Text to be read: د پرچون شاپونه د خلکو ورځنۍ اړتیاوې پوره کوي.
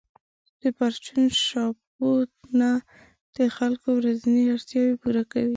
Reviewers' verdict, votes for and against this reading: rejected, 1, 2